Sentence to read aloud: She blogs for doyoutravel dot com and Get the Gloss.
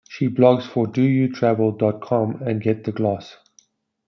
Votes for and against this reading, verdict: 2, 0, accepted